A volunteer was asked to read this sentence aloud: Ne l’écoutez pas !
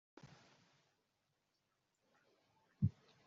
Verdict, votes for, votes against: rejected, 0, 2